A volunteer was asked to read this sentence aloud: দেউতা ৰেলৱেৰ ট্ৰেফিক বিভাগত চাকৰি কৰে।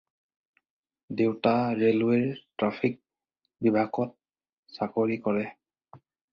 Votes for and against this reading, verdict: 4, 0, accepted